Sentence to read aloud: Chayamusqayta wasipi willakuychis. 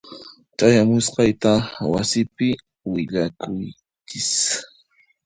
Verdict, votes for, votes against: rejected, 1, 2